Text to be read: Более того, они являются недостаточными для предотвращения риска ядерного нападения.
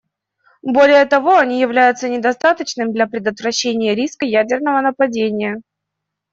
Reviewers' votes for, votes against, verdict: 2, 0, accepted